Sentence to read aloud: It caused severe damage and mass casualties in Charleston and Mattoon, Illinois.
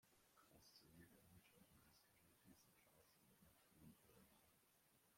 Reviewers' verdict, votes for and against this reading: rejected, 0, 2